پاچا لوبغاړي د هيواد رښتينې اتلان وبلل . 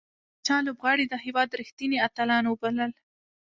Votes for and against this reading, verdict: 0, 2, rejected